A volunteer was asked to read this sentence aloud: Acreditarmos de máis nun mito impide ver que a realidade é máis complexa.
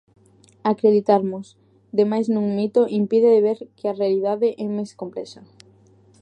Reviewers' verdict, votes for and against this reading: rejected, 0, 2